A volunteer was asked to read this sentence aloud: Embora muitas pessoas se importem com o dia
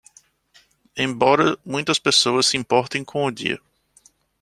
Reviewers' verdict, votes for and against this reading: accepted, 2, 0